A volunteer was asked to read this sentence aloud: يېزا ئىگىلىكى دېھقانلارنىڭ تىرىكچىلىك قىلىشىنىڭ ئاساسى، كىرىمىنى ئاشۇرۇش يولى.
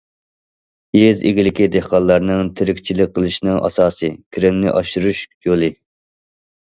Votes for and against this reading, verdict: 0, 2, rejected